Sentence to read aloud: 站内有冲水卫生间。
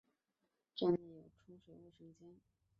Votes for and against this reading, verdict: 0, 3, rejected